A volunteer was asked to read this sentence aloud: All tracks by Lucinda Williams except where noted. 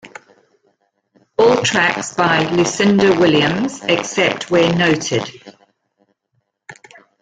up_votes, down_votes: 2, 0